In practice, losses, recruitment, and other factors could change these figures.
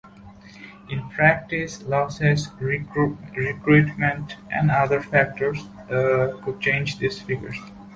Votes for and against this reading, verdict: 0, 2, rejected